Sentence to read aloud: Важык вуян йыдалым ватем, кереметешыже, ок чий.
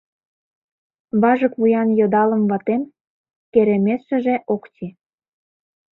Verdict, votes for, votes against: rejected, 0, 2